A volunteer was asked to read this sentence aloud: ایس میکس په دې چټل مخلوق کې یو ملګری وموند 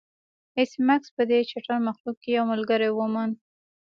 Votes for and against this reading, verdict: 2, 0, accepted